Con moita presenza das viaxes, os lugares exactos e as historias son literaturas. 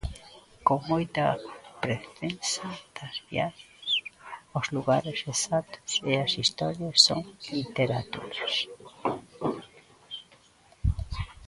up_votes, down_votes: 1, 2